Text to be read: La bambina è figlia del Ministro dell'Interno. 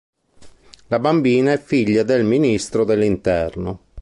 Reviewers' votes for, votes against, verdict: 3, 0, accepted